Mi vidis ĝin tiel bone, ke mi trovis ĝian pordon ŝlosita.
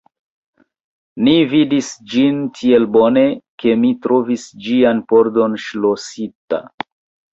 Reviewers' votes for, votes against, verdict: 1, 2, rejected